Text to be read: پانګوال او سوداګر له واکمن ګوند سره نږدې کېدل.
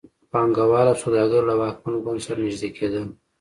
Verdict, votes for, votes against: accepted, 2, 0